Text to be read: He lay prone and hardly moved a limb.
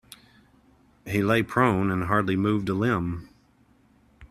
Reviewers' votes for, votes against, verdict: 2, 0, accepted